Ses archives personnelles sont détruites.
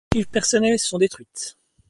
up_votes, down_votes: 0, 2